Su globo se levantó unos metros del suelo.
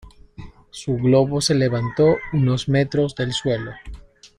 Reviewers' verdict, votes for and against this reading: accepted, 2, 0